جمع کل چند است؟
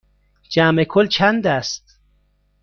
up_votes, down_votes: 3, 0